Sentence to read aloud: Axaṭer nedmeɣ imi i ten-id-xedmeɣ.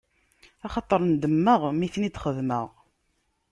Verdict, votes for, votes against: rejected, 1, 2